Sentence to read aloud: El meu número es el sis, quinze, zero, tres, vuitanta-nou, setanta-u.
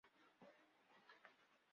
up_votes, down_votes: 1, 2